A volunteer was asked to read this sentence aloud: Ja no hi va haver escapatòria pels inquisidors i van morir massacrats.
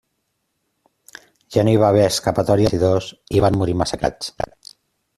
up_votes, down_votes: 0, 2